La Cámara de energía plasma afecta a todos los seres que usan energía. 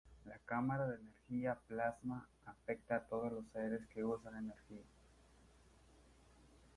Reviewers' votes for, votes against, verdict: 2, 0, accepted